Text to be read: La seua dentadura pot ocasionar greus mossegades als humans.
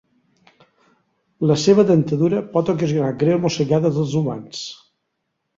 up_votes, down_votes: 4, 0